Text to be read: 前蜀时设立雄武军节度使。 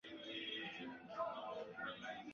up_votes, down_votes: 0, 2